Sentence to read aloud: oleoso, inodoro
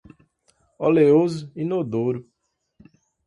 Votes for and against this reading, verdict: 2, 0, accepted